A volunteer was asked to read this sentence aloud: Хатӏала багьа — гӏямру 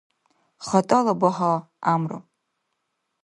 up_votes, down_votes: 2, 0